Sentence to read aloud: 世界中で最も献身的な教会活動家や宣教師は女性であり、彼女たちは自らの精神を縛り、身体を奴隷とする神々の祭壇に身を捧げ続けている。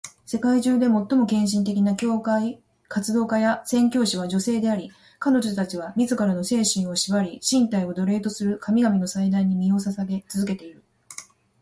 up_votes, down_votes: 0, 2